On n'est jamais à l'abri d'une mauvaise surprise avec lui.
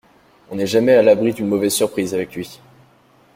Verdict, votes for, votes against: accepted, 2, 0